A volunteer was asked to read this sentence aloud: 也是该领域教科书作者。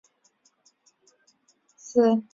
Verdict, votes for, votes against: rejected, 1, 2